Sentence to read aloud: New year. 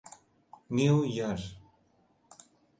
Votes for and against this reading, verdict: 2, 1, accepted